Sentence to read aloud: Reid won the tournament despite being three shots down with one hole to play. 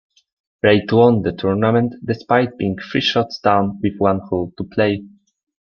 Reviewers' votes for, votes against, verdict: 2, 0, accepted